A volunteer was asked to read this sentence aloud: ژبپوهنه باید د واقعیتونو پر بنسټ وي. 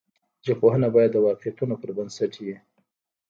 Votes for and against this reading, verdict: 1, 2, rejected